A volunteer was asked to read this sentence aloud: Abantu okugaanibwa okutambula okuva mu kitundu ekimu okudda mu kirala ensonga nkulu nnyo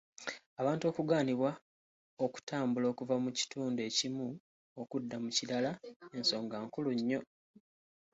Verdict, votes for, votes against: accepted, 2, 1